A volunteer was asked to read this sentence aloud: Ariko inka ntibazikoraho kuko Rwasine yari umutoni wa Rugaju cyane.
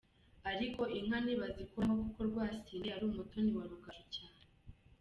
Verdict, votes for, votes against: accepted, 2, 0